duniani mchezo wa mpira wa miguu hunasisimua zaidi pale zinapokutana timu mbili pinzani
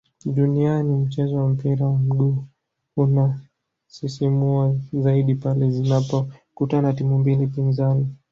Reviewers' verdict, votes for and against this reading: rejected, 1, 3